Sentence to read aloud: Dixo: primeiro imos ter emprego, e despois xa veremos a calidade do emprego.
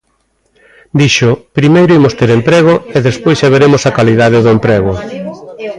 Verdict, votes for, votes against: rejected, 1, 2